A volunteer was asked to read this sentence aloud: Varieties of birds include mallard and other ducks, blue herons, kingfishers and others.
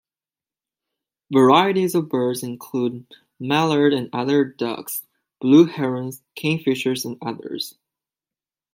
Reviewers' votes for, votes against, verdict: 2, 0, accepted